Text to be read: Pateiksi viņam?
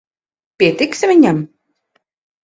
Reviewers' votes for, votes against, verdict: 0, 4, rejected